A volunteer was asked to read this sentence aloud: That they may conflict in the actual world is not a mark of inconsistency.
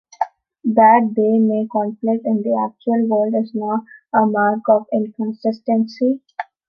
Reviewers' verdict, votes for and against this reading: accepted, 2, 0